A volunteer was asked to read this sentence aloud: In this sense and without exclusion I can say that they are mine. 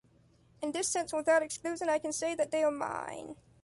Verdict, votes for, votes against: accepted, 2, 1